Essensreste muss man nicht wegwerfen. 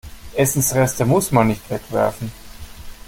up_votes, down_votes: 2, 0